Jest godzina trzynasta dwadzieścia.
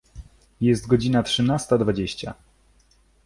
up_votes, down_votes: 2, 0